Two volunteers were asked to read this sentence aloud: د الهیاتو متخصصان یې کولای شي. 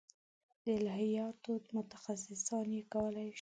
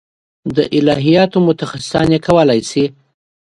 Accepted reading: second